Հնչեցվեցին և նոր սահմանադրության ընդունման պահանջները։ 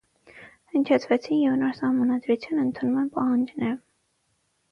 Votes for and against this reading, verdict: 0, 6, rejected